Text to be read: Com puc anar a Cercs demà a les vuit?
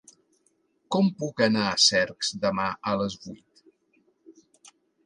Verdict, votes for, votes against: accepted, 4, 0